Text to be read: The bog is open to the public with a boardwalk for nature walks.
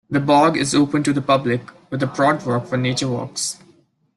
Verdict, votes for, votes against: accepted, 2, 1